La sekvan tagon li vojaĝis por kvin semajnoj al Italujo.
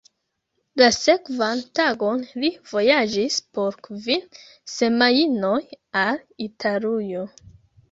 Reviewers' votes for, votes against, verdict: 1, 2, rejected